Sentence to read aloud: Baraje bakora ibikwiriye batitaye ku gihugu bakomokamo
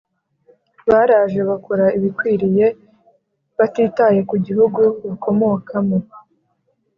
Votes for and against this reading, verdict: 2, 1, accepted